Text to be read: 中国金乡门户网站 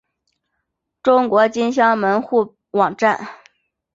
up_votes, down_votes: 4, 0